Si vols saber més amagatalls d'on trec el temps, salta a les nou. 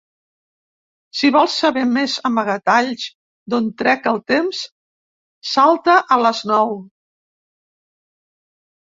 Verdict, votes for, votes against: accepted, 2, 0